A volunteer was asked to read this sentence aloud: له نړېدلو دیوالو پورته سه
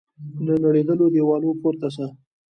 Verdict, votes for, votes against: rejected, 1, 2